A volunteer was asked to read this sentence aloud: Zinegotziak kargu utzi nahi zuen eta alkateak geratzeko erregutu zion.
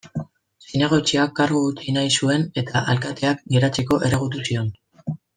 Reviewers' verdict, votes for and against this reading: accepted, 2, 0